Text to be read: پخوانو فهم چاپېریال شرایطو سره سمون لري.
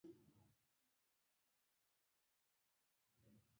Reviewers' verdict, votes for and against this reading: rejected, 1, 2